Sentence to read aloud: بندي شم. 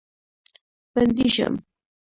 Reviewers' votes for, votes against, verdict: 1, 2, rejected